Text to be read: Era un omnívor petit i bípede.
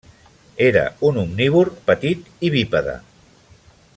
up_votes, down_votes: 2, 0